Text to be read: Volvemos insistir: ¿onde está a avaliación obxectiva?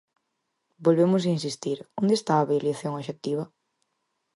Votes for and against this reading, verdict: 4, 0, accepted